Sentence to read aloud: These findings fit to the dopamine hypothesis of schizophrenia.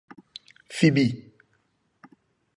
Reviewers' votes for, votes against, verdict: 0, 2, rejected